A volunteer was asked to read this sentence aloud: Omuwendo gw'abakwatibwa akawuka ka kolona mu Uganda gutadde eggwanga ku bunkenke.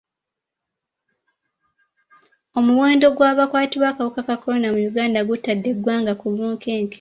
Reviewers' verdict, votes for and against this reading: accepted, 2, 0